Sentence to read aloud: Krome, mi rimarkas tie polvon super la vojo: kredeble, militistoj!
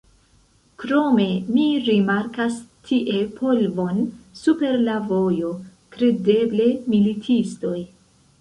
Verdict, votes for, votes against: accepted, 3, 0